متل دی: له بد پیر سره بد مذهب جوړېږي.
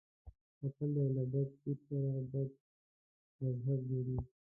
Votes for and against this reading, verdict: 0, 3, rejected